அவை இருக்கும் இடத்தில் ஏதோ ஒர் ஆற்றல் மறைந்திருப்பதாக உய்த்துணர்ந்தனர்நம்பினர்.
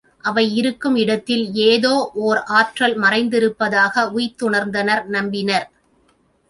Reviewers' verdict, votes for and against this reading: accepted, 2, 0